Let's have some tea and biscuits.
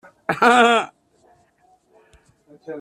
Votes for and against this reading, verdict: 0, 2, rejected